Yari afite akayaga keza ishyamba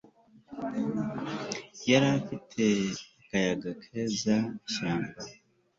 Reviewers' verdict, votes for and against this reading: accepted, 2, 0